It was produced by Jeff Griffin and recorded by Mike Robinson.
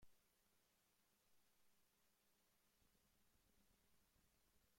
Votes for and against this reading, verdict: 0, 2, rejected